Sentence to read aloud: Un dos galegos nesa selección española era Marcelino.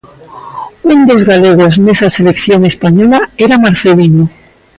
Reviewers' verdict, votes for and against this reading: rejected, 1, 2